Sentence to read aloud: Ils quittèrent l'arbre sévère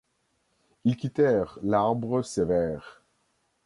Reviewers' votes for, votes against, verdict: 2, 0, accepted